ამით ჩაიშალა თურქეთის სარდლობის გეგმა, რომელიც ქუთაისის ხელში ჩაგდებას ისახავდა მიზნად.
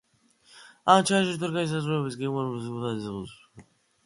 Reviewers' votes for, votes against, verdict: 0, 2, rejected